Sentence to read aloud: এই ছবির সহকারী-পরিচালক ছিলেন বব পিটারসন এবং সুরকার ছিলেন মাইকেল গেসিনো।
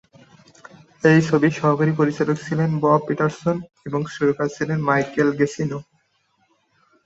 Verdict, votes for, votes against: accepted, 3, 0